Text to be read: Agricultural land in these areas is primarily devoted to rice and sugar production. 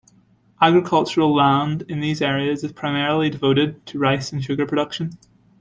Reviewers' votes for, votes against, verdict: 2, 0, accepted